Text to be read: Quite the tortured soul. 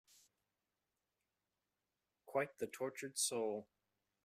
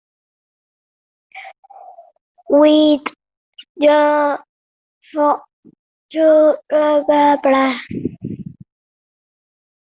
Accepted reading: first